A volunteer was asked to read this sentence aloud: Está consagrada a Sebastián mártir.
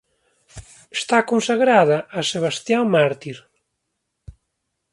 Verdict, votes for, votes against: accepted, 2, 0